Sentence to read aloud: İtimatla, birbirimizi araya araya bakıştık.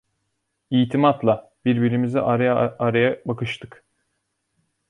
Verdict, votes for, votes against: rejected, 1, 2